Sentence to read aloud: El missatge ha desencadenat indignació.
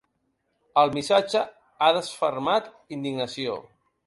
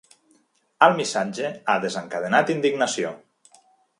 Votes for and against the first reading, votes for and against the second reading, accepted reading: 0, 2, 2, 0, second